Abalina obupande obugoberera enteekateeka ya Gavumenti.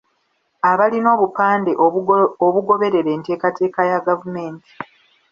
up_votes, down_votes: 0, 2